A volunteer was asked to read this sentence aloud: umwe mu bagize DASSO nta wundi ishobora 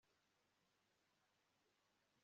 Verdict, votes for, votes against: rejected, 1, 2